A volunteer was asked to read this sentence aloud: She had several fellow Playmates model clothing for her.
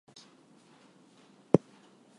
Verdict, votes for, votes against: accepted, 2, 0